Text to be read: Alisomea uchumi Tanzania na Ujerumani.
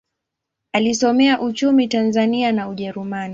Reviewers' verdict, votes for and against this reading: accepted, 2, 1